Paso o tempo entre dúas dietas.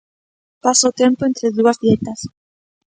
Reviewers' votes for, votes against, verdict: 2, 0, accepted